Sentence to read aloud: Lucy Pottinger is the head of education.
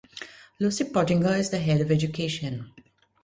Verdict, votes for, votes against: accepted, 2, 0